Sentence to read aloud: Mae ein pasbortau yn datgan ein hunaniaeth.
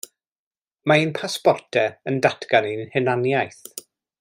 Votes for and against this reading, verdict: 2, 0, accepted